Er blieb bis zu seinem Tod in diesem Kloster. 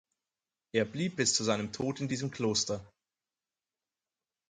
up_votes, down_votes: 4, 0